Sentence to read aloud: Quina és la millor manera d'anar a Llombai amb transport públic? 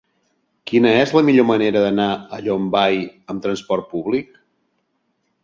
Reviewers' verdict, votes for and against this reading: accepted, 2, 0